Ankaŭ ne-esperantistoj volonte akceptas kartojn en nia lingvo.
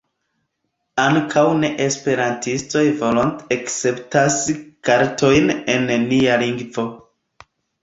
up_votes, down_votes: 1, 2